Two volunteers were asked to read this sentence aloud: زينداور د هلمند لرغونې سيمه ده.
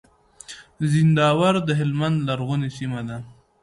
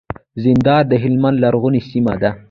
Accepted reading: first